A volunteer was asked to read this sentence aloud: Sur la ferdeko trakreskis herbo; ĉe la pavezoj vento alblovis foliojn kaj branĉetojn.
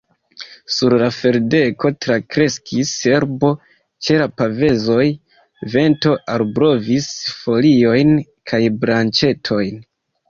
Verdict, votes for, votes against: rejected, 1, 2